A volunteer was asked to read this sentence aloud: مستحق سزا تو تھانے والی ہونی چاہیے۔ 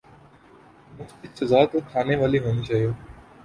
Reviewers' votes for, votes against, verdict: 1, 5, rejected